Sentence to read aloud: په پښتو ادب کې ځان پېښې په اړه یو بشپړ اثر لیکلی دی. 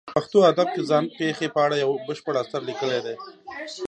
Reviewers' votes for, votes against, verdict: 2, 0, accepted